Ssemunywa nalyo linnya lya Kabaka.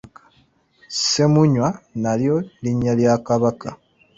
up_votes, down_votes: 2, 0